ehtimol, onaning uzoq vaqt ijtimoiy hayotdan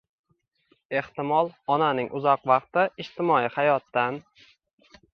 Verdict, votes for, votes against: rejected, 1, 2